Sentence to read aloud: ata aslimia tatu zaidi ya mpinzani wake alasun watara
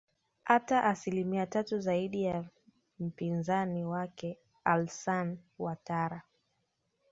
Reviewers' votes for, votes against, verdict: 1, 2, rejected